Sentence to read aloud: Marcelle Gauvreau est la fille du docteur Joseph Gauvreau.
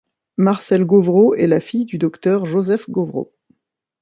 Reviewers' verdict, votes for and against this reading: accepted, 2, 0